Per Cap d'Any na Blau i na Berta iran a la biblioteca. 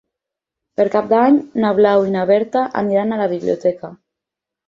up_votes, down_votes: 6, 4